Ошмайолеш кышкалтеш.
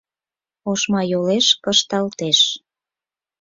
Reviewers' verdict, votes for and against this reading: rejected, 2, 4